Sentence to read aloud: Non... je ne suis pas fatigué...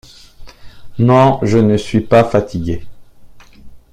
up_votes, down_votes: 2, 0